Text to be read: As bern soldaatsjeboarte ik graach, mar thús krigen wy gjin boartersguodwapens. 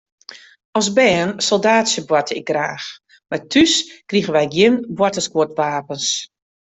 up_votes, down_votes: 2, 0